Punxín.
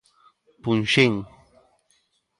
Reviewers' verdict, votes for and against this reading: accepted, 2, 0